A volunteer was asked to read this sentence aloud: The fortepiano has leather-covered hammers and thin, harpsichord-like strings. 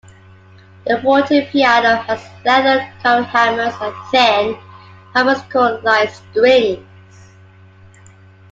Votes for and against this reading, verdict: 2, 1, accepted